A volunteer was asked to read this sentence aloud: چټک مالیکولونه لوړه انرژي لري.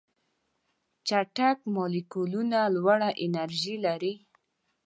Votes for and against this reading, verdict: 2, 0, accepted